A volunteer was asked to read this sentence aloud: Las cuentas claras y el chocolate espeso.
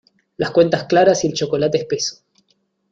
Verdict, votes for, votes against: accepted, 2, 0